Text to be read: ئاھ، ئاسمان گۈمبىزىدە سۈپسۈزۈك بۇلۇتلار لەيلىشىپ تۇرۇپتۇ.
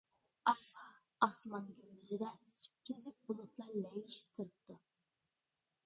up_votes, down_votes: 0, 2